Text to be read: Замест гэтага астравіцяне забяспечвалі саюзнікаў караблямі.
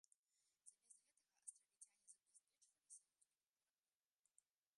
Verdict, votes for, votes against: rejected, 0, 2